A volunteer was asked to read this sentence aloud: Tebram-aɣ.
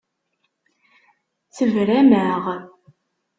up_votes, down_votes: 2, 0